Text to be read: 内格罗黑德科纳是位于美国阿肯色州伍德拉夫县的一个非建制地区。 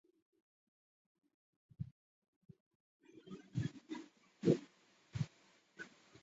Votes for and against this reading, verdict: 0, 2, rejected